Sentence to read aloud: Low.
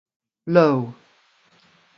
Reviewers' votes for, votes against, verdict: 3, 0, accepted